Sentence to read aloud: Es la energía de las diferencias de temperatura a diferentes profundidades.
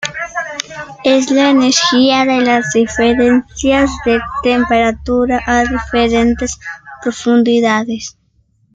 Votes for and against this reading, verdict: 2, 0, accepted